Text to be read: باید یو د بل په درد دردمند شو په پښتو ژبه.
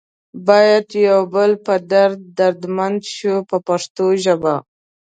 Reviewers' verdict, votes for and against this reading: accepted, 2, 0